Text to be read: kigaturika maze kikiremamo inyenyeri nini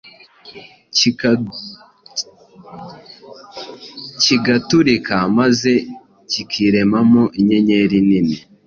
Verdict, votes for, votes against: rejected, 1, 2